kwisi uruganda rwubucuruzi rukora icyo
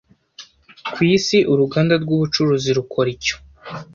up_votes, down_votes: 2, 0